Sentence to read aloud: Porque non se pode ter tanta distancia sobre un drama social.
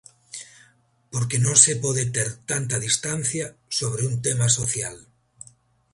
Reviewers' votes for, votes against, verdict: 1, 2, rejected